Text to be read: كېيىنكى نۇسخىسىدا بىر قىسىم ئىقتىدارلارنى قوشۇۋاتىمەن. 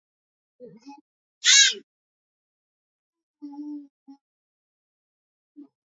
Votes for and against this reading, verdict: 0, 2, rejected